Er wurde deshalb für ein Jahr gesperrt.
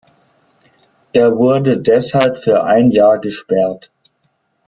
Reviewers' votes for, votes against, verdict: 2, 0, accepted